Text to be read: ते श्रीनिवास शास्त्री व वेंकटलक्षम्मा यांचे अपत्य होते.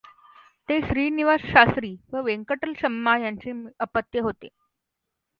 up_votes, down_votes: 2, 0